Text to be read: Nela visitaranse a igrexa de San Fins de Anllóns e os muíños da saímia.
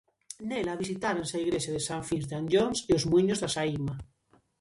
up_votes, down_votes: 0, 2